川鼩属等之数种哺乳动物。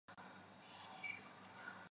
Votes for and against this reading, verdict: 0, 3, rejected